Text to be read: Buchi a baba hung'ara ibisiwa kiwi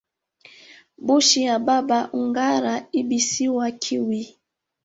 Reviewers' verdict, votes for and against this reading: rejected, 1, 2